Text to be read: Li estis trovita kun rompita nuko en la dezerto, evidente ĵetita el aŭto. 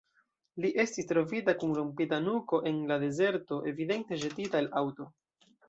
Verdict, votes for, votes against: rejected, 1, 2